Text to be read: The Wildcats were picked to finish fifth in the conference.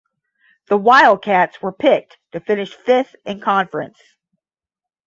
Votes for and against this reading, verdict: 0, 10, rejected